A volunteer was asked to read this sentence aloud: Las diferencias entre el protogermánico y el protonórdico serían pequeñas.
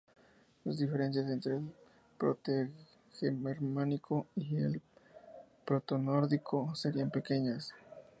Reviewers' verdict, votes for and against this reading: accepted, 2, 0